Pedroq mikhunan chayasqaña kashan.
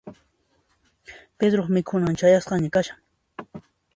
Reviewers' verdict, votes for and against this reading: accepted, 2, 0